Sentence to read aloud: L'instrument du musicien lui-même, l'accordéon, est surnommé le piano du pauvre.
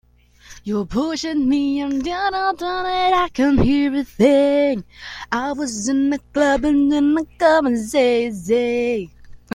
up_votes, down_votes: 0, 2